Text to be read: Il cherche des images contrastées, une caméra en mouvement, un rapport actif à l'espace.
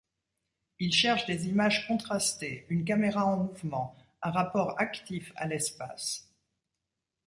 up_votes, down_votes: 2, 0